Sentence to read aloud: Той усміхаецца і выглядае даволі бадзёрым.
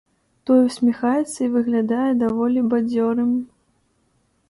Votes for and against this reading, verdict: 2, 0, accepted